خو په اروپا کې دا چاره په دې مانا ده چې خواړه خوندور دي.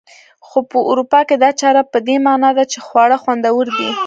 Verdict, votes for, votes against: accepted, 2, 1